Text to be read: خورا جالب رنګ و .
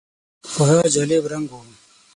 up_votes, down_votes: 3, 6